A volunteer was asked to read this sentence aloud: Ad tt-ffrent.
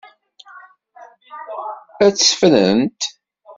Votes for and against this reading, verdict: 2, 0, accepted